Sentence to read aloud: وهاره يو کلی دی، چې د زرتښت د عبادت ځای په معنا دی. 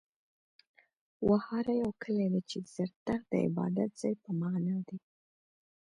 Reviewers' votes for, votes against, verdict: 2, 0, accepted